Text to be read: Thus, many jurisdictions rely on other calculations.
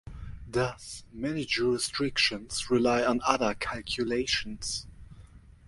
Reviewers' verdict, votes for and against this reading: rejected, 1, 2